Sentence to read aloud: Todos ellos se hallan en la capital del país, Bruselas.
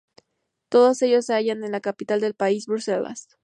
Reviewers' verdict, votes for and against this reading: accepted, 2, 0